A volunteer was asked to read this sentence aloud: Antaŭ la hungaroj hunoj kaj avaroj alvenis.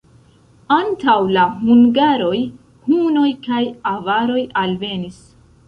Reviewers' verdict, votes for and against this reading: accepted, 3, 1